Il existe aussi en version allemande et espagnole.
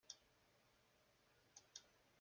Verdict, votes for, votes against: rejected, 0, 2